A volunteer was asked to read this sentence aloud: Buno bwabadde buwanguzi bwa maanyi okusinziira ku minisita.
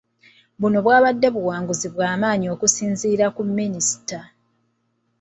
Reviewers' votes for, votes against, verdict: 3, 0, accepted